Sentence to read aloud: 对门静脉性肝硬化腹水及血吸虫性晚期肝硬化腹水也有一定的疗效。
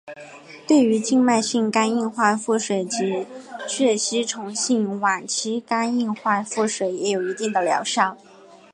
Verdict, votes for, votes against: accepted, 2, 1